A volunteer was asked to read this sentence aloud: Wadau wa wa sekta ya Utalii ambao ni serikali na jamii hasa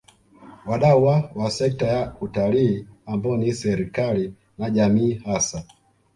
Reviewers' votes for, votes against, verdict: 1, 2, rejected